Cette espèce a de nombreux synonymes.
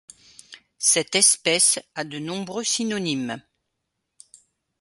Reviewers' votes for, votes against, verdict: 2, 0, accepted